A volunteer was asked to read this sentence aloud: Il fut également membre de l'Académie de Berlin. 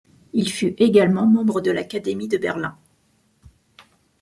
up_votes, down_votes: 2, 1